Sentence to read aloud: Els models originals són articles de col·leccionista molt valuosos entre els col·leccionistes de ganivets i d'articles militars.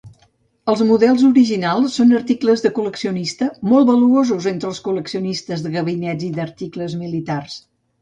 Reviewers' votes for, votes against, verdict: 0, 2, rejected